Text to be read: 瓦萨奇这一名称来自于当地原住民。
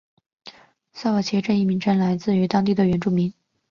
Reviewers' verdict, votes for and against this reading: rejected, 1, 2